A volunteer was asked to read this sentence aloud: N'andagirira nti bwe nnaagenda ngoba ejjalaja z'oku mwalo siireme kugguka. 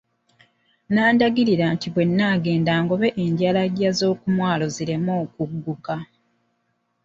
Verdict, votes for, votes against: rejected, 1, 2